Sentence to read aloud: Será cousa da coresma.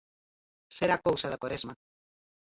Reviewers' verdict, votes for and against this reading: rejected, 2, 4